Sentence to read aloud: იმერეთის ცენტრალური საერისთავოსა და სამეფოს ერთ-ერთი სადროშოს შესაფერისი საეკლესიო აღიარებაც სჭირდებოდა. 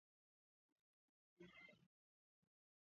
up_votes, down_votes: 1, 2